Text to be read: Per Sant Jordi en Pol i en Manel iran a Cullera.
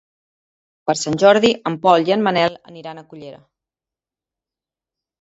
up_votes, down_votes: 2, 1